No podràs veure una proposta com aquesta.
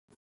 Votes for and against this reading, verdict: 1, 2, rejected